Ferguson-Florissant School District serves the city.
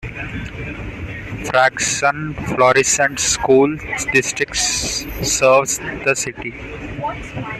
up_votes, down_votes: 1, 2